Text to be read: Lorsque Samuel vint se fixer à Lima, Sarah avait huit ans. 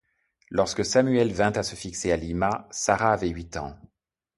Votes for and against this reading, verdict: 0, 2, rejected